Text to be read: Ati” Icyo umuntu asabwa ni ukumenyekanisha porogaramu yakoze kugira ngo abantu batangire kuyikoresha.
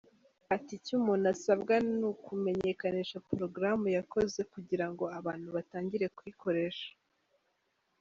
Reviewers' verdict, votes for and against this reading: accepted, 2, 0